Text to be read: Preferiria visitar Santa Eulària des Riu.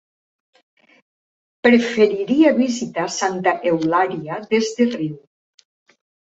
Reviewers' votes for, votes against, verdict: 0, 2, rejected